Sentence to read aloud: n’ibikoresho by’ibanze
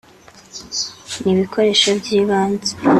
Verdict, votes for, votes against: accepted, 2, 0